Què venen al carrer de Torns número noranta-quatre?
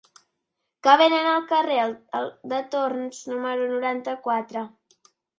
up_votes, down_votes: 0, 2